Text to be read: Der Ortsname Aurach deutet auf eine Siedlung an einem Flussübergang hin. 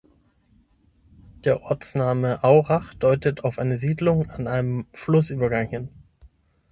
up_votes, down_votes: 9, 0